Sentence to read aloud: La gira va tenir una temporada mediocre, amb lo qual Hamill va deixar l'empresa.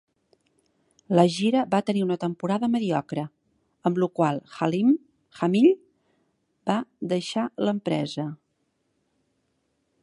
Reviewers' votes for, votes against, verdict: 0, 2, rejected